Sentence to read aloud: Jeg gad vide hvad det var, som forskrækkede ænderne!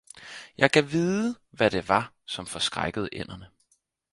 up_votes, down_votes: 4, 0